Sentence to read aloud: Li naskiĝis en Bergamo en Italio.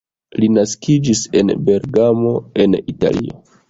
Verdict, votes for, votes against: rejected, 0, 2